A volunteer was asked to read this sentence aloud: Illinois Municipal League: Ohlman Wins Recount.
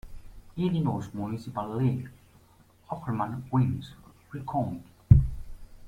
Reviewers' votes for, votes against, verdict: 0, 2, rejected